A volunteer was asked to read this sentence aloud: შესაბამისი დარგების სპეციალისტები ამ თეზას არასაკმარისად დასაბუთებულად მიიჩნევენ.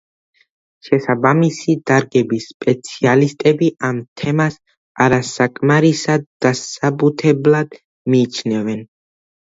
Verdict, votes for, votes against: accepted, 2, 0